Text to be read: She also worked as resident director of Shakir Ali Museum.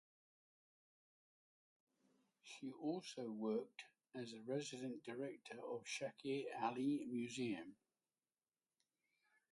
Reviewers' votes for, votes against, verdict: 0, 3, rejected